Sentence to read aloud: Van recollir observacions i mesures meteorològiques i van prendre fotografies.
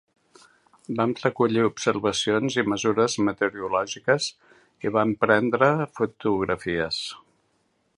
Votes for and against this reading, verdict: 1, 2, rejected